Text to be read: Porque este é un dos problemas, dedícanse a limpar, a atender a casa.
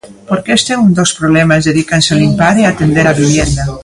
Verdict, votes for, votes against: rejected, 0, 2